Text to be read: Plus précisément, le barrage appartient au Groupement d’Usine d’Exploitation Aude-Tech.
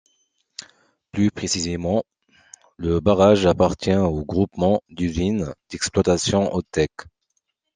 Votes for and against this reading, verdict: 2, 0, accepted